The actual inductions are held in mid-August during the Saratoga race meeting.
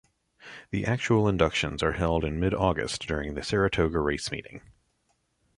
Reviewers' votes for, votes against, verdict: 2, 0, accepted